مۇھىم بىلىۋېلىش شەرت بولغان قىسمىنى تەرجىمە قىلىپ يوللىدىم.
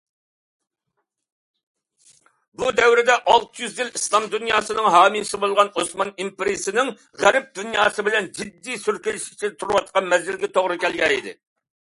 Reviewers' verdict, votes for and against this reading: rejected, 0, 2